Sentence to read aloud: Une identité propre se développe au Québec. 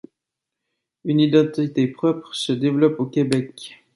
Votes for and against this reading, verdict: 2, 0, accepted